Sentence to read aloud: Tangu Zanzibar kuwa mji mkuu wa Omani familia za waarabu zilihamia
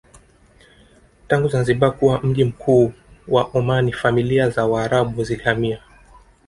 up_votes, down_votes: 2, 0